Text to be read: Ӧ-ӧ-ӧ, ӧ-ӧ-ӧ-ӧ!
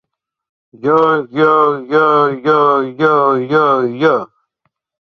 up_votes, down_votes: 0, 2